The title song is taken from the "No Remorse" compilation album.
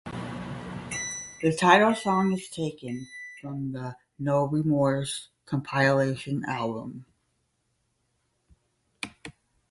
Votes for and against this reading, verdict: 10, 0, accepted